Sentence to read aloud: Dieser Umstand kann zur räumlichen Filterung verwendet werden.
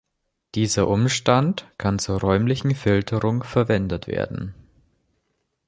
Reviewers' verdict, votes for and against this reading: accepted, 2, 0